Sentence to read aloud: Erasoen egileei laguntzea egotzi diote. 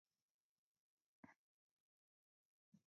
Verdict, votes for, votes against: rejected, 0, 2